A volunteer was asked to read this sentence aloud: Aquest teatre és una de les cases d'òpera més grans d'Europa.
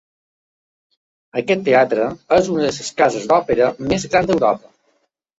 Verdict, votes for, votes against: rejected, 1, 2